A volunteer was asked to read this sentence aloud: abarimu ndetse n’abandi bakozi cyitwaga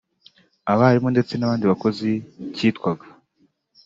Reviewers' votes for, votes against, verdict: 2, 0, accepted